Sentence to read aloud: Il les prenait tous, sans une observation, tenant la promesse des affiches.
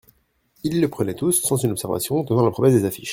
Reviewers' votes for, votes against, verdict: 1, 2, rejected